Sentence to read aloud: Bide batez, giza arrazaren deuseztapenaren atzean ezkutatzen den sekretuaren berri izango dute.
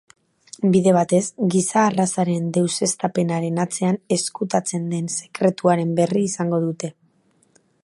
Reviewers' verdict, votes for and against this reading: accepted, 3, 0